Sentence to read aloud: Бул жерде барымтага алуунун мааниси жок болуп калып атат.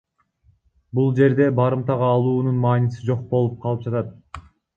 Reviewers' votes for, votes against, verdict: 0, 2, rejected